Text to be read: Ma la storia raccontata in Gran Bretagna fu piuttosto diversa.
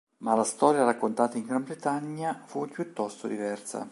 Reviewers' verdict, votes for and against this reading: accepted, 2, 0